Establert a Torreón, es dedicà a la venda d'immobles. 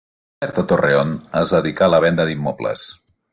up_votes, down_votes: 0, 2